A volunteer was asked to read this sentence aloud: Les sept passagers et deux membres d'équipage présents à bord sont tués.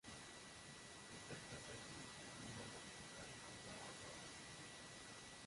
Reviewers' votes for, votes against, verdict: 0, 3, rejected